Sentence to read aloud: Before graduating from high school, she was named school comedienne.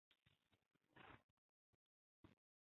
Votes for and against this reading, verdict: 0, 2, rejected